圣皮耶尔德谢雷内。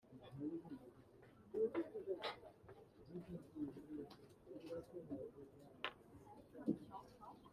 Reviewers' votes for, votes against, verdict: 0, 2, rejected